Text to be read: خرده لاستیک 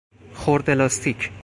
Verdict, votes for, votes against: accepted, 4, 0